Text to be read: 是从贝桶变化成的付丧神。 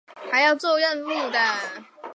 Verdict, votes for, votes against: rejected, 0, 2